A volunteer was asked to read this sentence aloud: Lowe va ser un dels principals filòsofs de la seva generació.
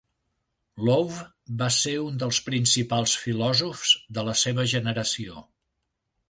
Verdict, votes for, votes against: accepted, 2, 0